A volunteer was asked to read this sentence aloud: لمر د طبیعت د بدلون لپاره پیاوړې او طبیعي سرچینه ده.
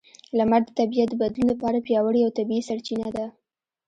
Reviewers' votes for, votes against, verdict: 2, 0, accepted